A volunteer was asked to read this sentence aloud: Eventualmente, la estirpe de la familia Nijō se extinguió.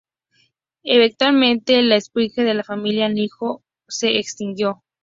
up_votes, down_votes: 2, 0